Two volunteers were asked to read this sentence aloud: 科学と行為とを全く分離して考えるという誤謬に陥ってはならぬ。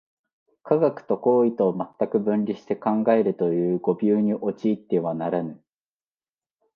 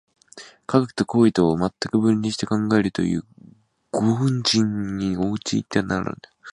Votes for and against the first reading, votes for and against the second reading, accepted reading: 5, 1, 0, 2, first